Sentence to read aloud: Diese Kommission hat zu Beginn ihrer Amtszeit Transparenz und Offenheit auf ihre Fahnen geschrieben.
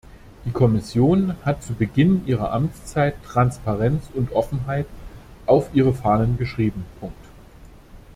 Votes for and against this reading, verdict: 1, 2, rejected